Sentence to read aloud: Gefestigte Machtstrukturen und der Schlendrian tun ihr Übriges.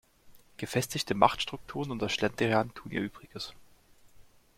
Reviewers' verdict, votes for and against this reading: accepted, 2, 0